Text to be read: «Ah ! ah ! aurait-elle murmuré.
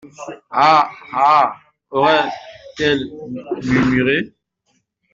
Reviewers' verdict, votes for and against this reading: rejected, 0, 2